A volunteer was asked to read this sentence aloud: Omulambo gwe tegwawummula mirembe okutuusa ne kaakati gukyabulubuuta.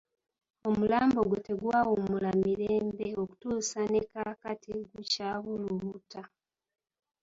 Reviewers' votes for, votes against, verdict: 2, 0, accepted